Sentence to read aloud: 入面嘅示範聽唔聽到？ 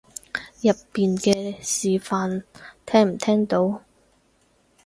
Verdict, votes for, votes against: rejected, 2, 4